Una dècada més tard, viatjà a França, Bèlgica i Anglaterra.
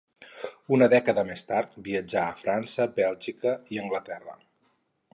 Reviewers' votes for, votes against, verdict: 2, 2, rejected